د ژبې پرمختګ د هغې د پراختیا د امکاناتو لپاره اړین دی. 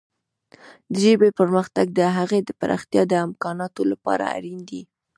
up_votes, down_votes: 0, 2